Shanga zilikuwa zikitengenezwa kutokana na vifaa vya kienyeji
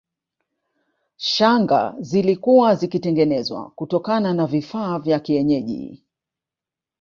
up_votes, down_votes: 2, 1